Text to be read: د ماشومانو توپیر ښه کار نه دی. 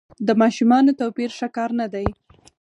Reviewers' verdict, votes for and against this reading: rejected, 2, 4